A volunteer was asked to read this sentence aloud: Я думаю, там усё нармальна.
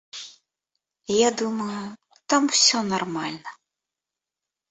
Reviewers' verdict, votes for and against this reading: rejected, 1, 2